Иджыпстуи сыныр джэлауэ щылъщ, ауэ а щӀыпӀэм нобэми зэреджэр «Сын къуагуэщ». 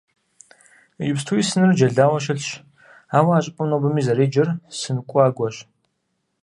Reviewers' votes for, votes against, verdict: 4, 0, accepted